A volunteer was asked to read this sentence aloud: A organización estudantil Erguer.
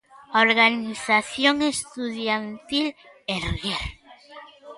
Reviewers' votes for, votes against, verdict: 0, 2, rejected